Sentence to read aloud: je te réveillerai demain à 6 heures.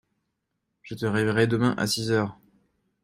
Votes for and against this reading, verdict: 0, 2, rejected